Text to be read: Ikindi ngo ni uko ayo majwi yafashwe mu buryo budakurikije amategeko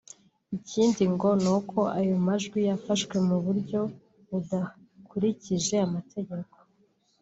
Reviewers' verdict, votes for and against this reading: accepted, 2, 0